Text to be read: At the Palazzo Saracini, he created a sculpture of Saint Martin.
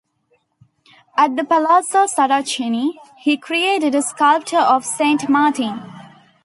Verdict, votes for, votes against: accepted, 2, 0